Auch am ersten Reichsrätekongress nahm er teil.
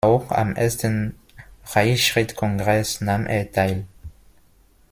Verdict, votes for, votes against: rejected, 0, 2